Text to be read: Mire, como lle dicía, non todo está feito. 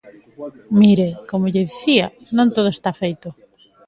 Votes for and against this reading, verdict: 2, 1, accepted